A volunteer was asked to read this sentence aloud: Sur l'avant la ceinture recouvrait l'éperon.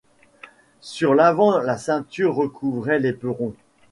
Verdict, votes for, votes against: accepted, 2, 1